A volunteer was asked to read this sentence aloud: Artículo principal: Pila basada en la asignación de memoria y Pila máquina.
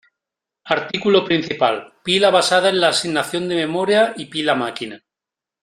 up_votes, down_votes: 2, 1